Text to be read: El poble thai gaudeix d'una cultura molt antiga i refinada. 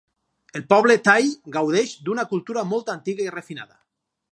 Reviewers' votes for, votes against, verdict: 4, 0, accepted